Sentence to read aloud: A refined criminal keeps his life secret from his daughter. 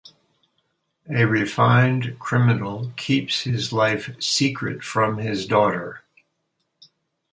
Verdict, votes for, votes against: accepted, 4, 0